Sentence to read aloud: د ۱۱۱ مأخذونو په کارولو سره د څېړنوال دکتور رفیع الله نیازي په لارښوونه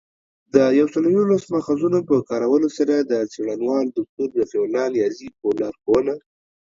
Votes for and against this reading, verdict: 0, 2, rejected